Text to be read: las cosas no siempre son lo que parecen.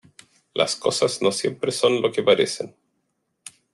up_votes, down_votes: 2, 0